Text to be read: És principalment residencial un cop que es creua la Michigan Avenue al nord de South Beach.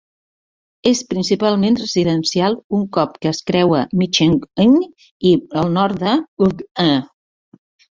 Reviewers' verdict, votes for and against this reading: rejected, 1, 2